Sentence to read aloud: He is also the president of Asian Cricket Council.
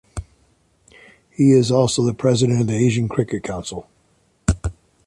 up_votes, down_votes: 1, 2